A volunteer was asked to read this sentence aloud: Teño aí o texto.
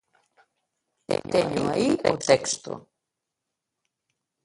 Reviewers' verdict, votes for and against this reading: rejected, 0, 2